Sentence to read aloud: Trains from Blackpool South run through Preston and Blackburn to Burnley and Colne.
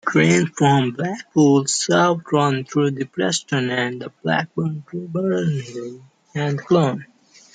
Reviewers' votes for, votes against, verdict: 0, 2, rejected